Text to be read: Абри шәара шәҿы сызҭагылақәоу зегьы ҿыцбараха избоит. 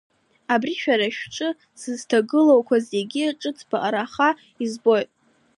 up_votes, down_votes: 2, 1